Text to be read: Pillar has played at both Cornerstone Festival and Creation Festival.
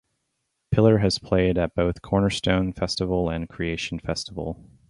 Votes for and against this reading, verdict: 2, 2, rejected